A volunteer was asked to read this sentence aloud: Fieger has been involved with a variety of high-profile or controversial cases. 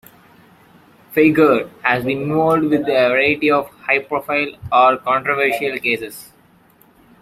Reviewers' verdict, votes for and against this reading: rejected, 1, 2